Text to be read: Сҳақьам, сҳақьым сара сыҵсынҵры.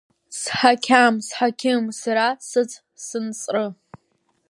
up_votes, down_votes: 2, 1